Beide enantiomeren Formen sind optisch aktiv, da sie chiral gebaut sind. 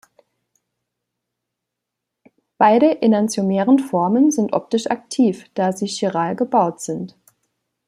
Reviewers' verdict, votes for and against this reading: accepted, 2, 0